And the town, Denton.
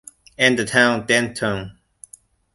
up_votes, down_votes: 2, 0